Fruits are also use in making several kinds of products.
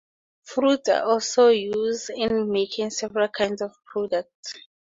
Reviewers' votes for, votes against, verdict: 2, 0, accepted